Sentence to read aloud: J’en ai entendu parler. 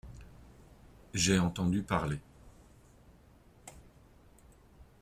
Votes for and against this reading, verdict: 0, 2, rejected